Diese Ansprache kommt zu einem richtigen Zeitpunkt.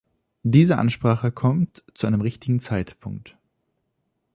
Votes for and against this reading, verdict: 2, 0, accepted